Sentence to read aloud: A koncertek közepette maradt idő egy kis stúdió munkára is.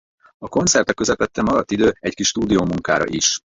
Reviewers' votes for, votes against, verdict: 0, 4, rejected